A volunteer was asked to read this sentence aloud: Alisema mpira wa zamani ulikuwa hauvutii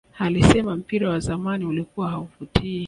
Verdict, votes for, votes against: rejected, 1, 2